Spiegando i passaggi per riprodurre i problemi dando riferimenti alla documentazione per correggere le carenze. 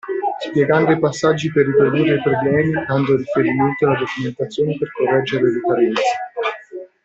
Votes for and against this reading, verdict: 0, 2, rejected